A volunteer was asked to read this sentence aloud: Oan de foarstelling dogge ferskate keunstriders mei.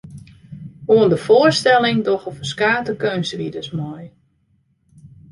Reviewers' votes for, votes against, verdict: 0, 2, rejected